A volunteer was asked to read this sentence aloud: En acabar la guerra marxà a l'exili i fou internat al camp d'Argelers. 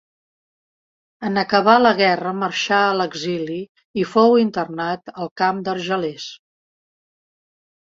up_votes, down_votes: 2, 0